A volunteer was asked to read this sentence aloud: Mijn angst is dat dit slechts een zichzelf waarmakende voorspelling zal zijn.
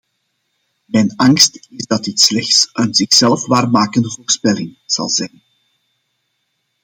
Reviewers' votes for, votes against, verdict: 0, 2, rejected